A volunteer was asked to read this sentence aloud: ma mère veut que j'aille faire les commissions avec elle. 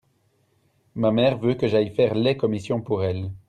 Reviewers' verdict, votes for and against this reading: rejected, 1, 2